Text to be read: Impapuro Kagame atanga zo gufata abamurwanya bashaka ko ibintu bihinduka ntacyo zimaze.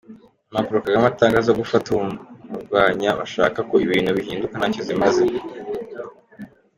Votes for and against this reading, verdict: 1, 2, rejected